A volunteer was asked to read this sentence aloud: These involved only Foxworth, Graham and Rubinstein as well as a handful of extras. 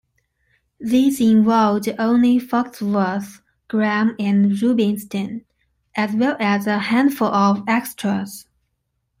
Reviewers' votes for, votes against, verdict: 2, 0, accepted